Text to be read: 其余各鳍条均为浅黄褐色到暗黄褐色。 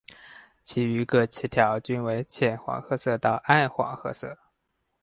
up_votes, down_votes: 6, 2